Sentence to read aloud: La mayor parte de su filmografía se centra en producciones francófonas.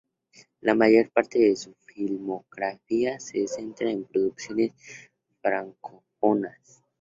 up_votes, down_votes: 0, 2